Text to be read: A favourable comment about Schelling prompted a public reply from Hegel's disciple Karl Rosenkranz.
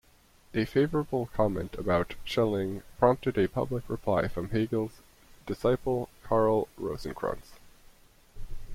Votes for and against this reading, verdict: 2, 0, accepted